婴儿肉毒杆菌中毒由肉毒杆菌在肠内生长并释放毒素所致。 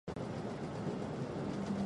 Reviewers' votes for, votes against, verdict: 0, 4, rejected